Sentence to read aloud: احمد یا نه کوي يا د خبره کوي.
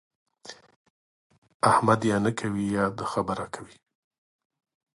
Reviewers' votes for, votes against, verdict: 1, 2, rejected